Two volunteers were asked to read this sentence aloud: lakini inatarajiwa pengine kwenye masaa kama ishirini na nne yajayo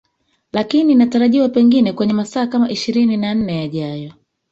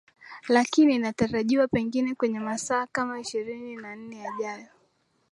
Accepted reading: second